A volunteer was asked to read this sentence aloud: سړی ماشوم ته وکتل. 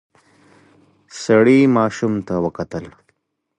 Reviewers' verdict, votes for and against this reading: accepted, 2, 0